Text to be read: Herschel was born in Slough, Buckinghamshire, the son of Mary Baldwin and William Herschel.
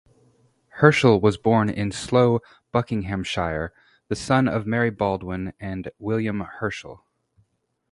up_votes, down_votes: 2, 0